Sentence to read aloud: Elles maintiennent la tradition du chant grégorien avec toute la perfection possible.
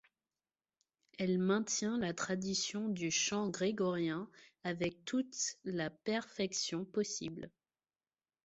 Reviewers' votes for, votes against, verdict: 0, 2, rejected